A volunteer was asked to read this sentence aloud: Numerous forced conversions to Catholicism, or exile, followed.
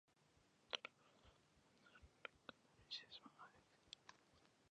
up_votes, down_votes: 0, 2